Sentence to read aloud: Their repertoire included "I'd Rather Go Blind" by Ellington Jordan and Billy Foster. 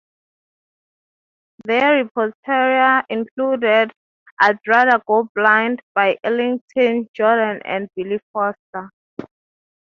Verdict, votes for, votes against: rejected, 0, 3